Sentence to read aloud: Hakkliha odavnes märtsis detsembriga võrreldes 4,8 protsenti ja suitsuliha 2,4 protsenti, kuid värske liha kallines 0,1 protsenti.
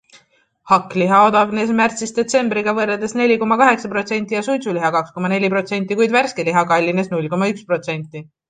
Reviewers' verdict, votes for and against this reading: rejected, 0, 2